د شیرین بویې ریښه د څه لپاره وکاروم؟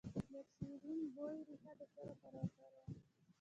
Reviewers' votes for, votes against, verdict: 0, 2, rejected